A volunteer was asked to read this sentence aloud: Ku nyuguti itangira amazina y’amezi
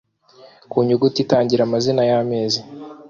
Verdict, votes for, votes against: accepted, 2, 0